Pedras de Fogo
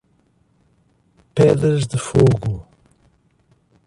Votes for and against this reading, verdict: 1, 2, rejected